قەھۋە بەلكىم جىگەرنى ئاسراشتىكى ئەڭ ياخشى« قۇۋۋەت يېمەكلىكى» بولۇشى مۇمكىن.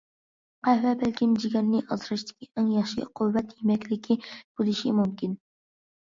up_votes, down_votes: 2, 0